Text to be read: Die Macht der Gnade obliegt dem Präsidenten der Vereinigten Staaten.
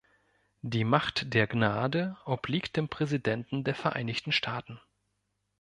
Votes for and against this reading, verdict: 2, 0, accepted